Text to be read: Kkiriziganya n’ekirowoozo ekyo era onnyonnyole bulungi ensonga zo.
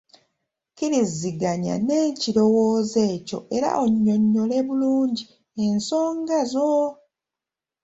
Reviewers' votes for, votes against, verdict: 2, 0, accepted